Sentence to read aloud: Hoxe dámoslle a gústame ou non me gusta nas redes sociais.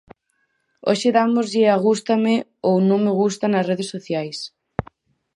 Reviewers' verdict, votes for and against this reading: accepted, 6, 0